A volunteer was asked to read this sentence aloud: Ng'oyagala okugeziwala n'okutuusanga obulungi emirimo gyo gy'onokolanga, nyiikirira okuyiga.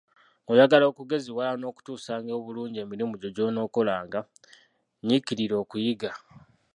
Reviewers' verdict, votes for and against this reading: rejected, 1, 2